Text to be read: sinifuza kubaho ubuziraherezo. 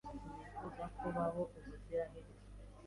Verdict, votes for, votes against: accepted, 2, 0